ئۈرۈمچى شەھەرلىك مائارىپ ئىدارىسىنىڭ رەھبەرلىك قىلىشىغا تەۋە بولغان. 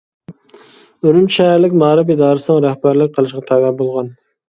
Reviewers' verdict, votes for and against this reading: accepted, 2, 0